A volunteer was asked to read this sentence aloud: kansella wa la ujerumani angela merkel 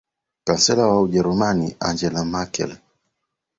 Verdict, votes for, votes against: rejected, 0, 2